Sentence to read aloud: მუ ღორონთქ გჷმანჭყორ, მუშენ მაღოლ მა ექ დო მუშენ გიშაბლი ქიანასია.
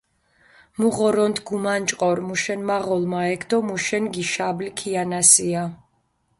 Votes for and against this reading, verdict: 0, 2, rejected